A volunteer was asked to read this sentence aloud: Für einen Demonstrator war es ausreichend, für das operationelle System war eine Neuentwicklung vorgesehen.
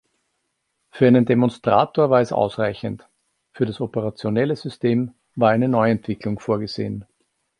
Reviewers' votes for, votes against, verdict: 2, 0, accepted